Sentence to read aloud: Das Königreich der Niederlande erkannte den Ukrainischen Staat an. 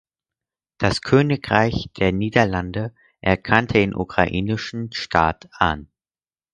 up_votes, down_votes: 4, 0